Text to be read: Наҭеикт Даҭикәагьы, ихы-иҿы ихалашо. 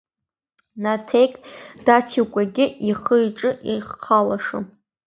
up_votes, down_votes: 0, 3